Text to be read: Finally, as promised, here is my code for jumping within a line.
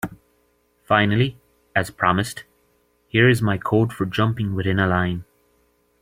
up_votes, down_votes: 3, 0